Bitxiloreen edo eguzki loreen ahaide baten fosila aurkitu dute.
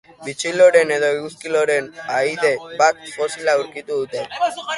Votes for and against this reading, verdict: 2, 0, accepted